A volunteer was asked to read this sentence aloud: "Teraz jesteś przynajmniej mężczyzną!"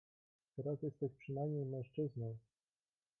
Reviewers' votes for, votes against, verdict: 2, 0, accepted